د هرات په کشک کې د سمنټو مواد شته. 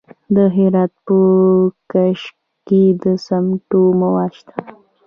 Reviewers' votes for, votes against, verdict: 0, 2, rejected